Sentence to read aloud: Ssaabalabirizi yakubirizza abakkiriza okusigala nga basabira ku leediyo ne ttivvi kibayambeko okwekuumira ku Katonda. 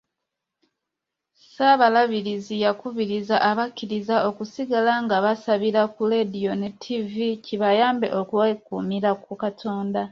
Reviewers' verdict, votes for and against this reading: accepted, 2, 0